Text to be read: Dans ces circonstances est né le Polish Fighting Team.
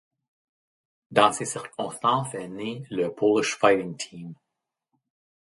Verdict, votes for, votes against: rejected, 1, 2